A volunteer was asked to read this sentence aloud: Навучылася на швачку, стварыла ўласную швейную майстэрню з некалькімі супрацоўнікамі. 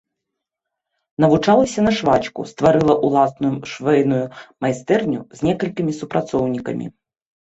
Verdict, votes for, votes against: rejected, 1, 2